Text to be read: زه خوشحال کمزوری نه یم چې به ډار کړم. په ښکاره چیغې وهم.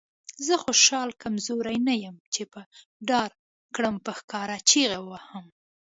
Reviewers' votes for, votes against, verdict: 1, 2, rejected